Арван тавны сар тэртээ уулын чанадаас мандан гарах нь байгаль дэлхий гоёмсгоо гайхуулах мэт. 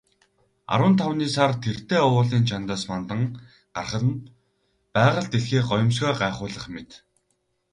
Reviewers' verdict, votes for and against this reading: accepted, 4, 0